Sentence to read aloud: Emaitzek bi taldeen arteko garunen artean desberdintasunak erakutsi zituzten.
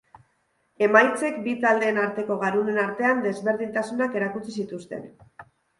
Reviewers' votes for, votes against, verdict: 2, 0, accepted